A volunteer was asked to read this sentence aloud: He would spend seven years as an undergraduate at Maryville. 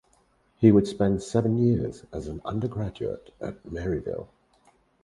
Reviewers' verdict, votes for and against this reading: accepted, 4, 0